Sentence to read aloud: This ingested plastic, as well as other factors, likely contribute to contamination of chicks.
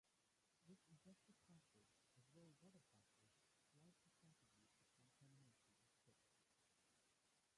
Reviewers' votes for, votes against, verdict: 0, 2, rejected